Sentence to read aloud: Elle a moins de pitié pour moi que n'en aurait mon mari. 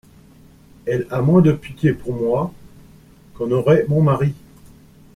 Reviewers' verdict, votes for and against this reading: rejected, 1, 2